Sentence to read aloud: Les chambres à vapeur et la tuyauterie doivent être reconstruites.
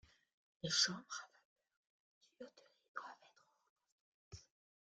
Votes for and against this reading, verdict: 0, 2, rejected